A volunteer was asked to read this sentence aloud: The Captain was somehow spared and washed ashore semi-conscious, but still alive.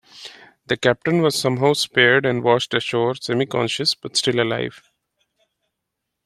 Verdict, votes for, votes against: accepted, 2, 0